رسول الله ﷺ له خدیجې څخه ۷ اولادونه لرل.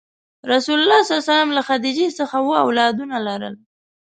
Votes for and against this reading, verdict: 0, 2, rejected